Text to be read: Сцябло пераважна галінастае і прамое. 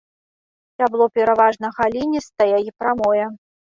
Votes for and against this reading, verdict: 1, 2, rejected